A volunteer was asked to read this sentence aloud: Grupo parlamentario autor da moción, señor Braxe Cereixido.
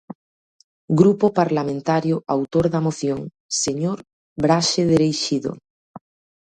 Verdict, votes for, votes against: rejected, 0, 2